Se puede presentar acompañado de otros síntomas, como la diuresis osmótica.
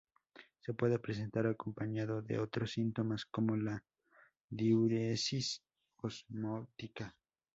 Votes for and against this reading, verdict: 2, 0, accepted